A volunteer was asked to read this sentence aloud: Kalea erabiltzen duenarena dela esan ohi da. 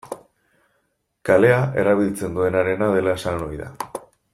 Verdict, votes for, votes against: accepted, 2, 0